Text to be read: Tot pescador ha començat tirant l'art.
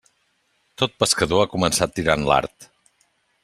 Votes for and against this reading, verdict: 3, 0, accepted